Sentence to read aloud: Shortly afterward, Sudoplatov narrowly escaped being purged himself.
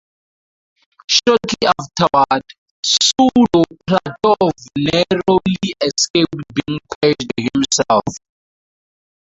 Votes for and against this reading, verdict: 0, 4, rejected